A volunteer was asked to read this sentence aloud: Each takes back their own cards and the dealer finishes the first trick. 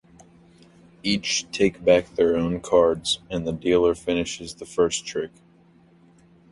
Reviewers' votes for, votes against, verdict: 1, 2, rejected